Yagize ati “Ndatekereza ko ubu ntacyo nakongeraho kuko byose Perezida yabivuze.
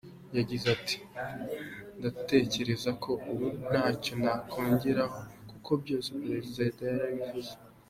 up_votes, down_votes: 2, 0